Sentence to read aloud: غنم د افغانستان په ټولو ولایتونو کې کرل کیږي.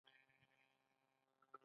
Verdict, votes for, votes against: rejected, 1, 2